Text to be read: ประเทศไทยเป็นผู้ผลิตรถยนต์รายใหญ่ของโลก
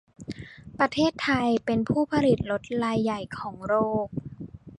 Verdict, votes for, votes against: rejected, 1, 2